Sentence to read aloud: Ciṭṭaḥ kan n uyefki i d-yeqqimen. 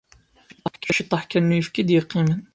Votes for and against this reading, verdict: 1, 2, rejected